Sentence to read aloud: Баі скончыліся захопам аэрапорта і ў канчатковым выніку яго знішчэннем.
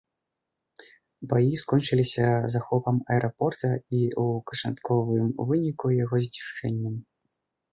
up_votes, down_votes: 1, 2